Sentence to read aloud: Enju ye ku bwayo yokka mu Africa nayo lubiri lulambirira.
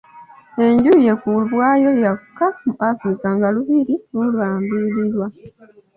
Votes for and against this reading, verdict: 2, 0, accepted